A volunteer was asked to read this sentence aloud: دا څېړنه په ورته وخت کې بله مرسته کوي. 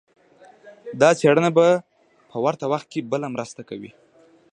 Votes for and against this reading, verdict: 2, 0, accepted